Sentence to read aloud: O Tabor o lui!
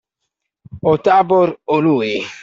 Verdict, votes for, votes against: accepted, 2, 0